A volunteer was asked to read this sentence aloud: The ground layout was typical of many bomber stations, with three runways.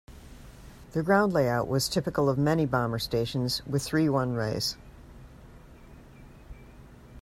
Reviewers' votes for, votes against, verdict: 2, 0, accepted